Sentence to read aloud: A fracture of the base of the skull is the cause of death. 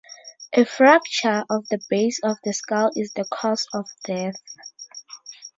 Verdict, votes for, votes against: accepted, 4, 0